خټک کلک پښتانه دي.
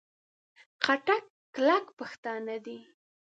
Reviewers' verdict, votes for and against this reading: accepted, 2, 0